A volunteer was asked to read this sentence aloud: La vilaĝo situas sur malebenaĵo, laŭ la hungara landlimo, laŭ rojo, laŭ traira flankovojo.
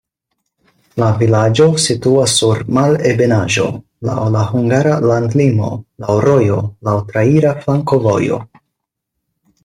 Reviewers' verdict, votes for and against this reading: accepted, 4, 0